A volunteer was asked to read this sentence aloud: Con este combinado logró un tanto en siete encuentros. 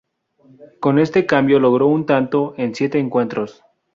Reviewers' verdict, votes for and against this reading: rejected, 4, 6